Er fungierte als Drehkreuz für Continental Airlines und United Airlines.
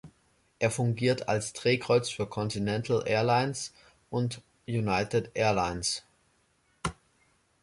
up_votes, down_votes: 1, 3